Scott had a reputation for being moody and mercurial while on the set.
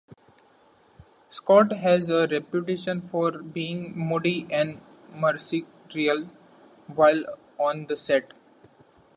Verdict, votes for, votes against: rejected, 0, 2